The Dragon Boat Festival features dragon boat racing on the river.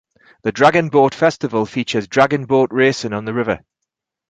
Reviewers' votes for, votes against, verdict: 4, 0, accepted